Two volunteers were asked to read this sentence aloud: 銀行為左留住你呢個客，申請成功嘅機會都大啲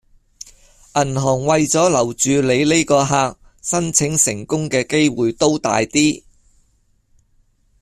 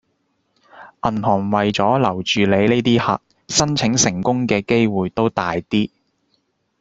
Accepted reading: first